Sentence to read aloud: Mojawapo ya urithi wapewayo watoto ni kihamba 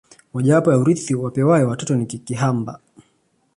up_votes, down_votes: 2, 0